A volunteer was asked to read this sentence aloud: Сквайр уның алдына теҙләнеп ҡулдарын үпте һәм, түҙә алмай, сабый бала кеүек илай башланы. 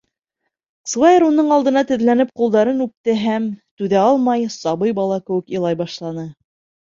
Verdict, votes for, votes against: rejected, 1, 2